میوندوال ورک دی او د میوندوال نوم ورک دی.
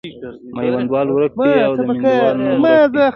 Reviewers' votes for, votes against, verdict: 2, 1, accepted